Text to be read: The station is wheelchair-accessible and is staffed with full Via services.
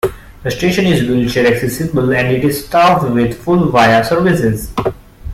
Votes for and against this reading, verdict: 2, 1, accepted